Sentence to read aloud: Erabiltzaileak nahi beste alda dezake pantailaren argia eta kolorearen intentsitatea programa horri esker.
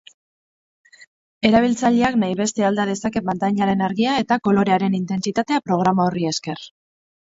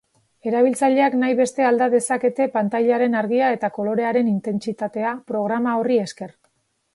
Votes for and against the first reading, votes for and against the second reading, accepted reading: 2, 2, 3, 0, second